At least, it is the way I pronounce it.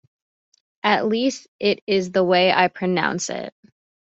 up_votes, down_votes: 2, 0